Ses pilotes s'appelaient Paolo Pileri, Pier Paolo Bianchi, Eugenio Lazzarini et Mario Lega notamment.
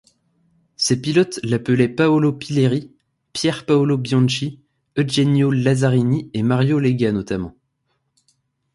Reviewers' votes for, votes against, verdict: 0, 2, rejected